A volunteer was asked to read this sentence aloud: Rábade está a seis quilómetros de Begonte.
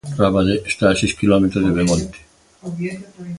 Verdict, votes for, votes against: rejected, 0, 2